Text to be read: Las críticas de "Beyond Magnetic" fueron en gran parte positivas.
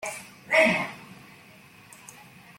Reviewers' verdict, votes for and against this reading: rejected, 0, 2